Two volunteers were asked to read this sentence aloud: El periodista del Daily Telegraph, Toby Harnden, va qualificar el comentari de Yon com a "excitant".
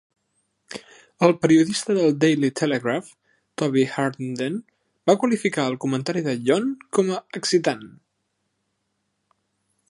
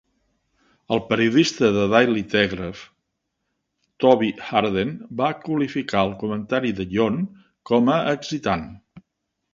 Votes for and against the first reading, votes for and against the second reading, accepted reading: 2, 1, 1, 2, first